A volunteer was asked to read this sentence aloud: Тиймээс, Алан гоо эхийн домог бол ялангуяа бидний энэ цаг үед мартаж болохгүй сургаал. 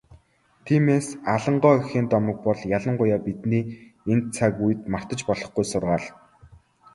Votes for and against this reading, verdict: 2, 0, accepted